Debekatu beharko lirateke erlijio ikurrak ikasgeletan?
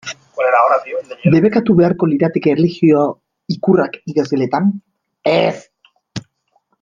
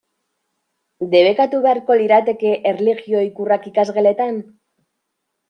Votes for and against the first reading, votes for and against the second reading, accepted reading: 1, 2, 2, 0, second